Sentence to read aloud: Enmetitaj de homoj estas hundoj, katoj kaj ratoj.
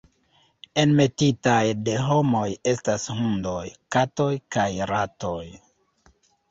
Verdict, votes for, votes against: rejected, 0, 2